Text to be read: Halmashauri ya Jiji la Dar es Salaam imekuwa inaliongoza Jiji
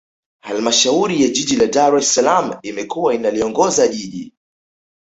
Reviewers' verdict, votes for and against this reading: accepted, 2, 0